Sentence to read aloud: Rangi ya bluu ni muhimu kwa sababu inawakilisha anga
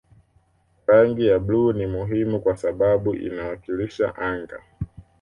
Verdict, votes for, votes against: accepted, 2, 0